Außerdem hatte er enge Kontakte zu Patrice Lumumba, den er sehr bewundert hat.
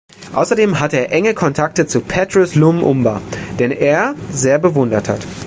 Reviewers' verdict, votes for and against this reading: rejected, 1, 2